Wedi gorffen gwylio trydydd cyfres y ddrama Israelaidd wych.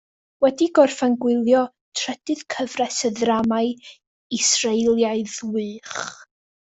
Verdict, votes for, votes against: rejected, 1, 2